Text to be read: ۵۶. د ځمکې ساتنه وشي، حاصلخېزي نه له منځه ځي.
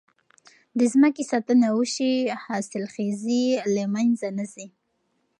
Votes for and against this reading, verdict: 0, 2, rejected